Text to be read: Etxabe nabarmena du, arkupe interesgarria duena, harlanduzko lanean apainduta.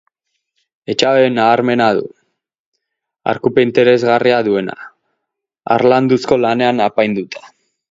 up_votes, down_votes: 2, 2